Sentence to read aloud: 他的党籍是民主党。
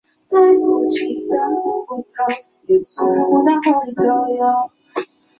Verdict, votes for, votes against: rejected, 0, 3